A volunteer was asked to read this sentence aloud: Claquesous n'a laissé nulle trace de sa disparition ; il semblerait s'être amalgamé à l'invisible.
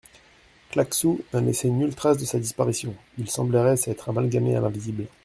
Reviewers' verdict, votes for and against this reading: rejected, 0, 2